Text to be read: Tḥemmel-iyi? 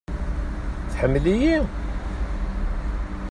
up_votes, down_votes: 2, 0